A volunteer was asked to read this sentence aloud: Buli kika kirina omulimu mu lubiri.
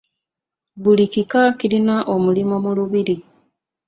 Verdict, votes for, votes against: rejected, 1, 2